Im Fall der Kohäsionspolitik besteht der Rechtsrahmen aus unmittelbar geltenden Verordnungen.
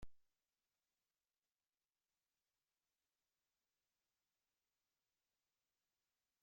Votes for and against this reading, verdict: 0, 2, rejected